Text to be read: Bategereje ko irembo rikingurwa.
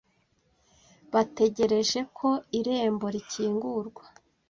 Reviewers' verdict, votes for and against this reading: accepted, 2, 0